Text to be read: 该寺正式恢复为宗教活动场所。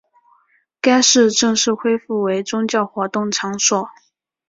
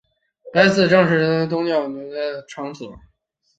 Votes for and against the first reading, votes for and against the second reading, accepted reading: 2, 0, 0, 2, first